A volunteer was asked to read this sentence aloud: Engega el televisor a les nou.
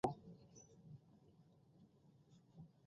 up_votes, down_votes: 0, 2